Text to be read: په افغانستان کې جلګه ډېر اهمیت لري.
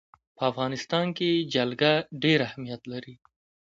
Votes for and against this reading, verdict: 2, 1, accepted